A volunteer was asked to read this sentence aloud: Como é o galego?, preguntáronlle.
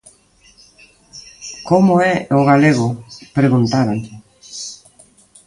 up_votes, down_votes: 2, 0